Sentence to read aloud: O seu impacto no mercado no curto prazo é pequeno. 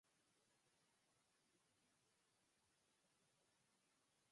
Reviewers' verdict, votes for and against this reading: rejected, 0, 4